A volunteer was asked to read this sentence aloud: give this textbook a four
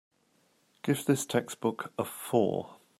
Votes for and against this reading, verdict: 2, 0, accepted